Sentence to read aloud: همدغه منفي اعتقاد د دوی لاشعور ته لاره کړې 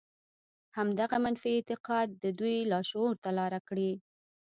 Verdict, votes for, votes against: rejected, 0, 2